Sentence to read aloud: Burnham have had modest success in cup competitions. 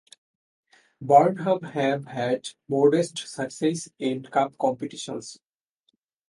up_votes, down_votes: 2, 2